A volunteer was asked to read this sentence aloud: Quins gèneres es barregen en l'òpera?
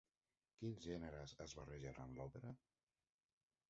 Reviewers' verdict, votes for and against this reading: rejected, 1, 2